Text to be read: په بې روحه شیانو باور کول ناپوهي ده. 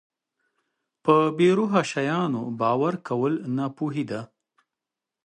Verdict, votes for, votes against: accepted, 2, 0